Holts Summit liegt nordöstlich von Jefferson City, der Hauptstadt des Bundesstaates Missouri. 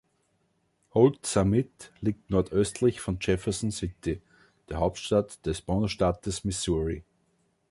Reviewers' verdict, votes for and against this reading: accepted, 2, 0